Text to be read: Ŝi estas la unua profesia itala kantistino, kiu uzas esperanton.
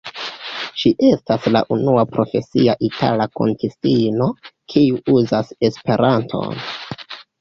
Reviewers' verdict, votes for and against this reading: rejected, 0, 2